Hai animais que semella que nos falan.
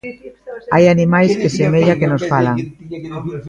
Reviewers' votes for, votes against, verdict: 0, 2, rejected